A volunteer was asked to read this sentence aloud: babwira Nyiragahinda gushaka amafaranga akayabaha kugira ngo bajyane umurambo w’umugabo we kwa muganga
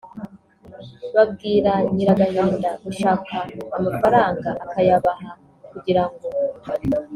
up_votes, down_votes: 1, 3